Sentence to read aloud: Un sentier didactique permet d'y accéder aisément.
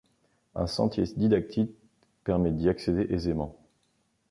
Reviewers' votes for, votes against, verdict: 1, 2, rejected